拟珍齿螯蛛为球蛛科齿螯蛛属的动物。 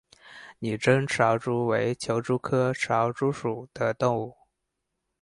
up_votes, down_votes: 2, 2